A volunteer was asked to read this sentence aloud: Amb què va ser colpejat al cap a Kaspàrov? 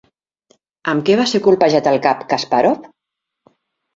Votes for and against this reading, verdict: 2, 1, accepted